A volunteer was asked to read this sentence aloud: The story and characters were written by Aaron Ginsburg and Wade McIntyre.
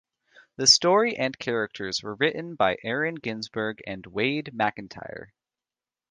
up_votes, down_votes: 1, 2